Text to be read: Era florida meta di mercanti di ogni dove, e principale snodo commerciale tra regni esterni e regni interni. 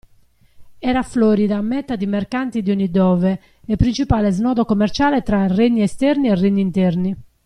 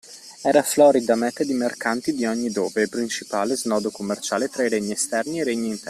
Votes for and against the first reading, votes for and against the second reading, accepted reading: 2, 0, 0, 2, first